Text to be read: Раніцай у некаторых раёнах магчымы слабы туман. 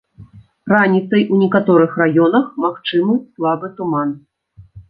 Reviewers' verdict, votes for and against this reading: accepted, 2, 0